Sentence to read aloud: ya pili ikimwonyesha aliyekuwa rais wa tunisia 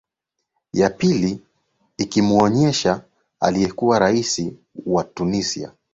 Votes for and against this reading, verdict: 2, 0, accepted